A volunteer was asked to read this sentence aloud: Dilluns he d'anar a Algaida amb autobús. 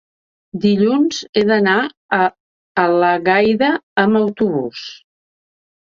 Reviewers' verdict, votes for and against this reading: rejected, 1, 2